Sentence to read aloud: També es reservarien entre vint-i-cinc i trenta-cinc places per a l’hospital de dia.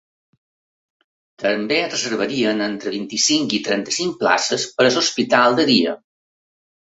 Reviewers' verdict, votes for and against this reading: accepted, 3, 2